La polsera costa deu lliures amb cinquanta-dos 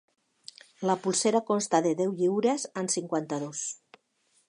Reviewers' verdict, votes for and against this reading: rejected, 1, 2